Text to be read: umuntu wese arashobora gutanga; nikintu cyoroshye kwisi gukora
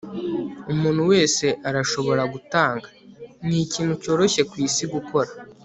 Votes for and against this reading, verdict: 3, 0, accepted